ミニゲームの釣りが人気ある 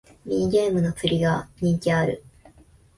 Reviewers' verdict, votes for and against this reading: accepted, 5, 0